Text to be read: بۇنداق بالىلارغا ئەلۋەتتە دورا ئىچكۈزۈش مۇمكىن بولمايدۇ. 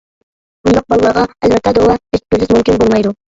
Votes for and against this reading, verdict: 1, 2, rejected